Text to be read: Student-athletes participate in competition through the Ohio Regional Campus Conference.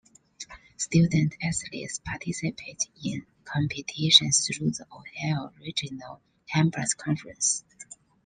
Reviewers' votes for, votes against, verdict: 0, 2, rejected